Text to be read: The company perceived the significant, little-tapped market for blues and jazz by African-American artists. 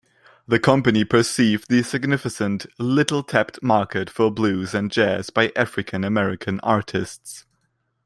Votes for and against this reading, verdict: 0, 2, rejected